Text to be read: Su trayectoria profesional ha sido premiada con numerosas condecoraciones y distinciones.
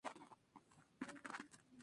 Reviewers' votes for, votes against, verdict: 2, 0, accepted